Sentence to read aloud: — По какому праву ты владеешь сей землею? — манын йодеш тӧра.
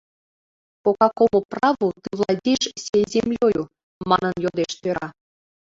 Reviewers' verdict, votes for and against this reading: rejected, 0, 2